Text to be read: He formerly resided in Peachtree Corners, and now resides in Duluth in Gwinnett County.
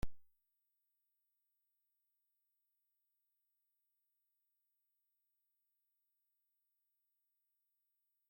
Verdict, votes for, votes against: rejected, 0, 2